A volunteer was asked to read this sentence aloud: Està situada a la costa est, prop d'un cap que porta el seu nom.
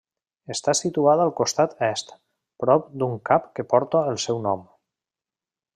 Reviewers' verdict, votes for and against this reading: rejected, 0, 2